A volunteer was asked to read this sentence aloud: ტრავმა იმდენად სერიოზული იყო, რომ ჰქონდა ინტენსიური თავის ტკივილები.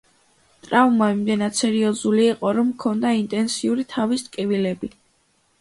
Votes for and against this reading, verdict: 2, 0, accepted